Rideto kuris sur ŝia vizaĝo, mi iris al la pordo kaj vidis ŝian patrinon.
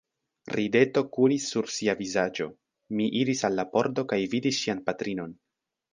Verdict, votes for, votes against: rejected, 1, 2